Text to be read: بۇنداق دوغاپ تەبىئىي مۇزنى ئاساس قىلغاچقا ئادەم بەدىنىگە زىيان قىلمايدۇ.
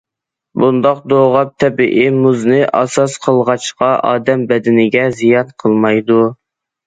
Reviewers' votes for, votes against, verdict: 2, 0, accepted